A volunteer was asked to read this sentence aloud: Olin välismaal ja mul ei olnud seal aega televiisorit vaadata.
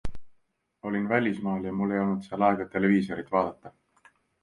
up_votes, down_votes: 2, 0